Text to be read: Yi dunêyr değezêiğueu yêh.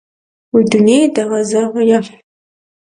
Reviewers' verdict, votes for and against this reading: rejected, 0, 2